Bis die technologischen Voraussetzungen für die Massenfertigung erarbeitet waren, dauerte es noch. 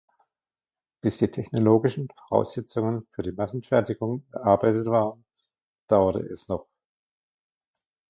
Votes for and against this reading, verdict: 0, 2, rejected